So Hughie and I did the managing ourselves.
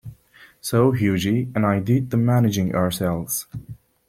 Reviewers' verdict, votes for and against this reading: rejected, 0, 2